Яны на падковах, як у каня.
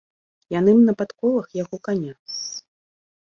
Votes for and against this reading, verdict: 1, 2, rejected